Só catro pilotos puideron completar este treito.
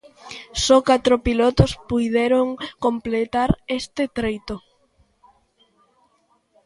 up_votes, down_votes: 2, 0